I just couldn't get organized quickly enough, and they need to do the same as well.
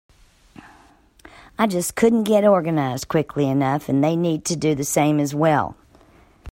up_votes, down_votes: 2, 0